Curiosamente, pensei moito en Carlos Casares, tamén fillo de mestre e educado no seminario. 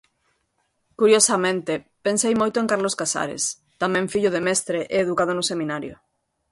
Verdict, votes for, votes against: accepted, 2, 0